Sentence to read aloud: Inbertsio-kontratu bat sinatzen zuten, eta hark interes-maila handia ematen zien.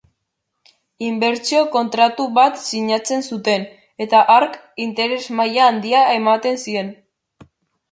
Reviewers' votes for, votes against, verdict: 2, 0, accepted